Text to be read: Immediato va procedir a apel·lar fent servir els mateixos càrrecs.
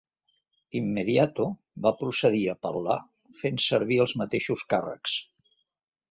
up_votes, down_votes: 2, 0